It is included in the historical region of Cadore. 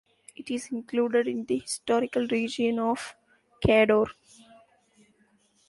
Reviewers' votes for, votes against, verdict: 1, 2, rejected